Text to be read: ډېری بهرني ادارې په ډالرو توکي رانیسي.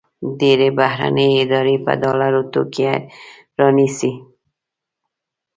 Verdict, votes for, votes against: rejected, 1, 2